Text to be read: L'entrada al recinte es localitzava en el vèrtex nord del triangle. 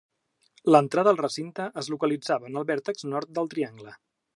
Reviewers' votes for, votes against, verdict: 2, 0, accepted